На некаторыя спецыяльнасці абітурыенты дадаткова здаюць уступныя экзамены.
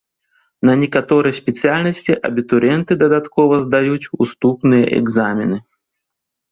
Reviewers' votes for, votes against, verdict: 1, 2, rejected